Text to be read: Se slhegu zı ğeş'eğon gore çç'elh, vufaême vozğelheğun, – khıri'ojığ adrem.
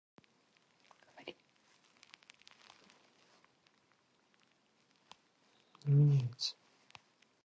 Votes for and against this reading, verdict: 0, 4, rejected